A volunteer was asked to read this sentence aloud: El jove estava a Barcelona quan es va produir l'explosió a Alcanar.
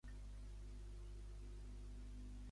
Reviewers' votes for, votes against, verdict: 0, 2, rejected